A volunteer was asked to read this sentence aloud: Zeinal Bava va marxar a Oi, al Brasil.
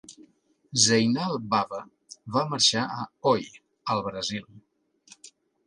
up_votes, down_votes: 2, 0